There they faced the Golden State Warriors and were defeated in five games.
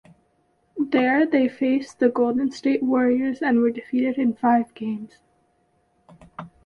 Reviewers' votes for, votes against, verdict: 2, 0, accepted